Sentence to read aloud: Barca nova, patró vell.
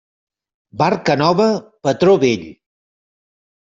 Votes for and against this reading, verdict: 3, 0, accepted